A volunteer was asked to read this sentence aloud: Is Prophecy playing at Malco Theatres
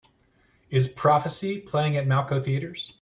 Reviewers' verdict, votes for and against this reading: accepted, 2, 0